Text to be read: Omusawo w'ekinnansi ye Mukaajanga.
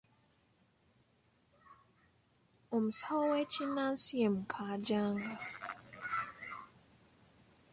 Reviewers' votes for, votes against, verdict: 2, 0, accepted